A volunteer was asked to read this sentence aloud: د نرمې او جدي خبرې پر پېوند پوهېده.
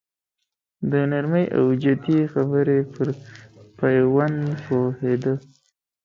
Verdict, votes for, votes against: rejected, 1, 2